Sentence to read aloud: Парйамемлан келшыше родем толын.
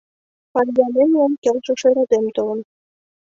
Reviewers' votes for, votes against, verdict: 2, 4, rejected